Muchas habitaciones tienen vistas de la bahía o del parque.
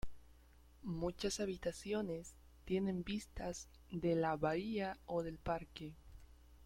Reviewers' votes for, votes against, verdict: 0, 2, rejected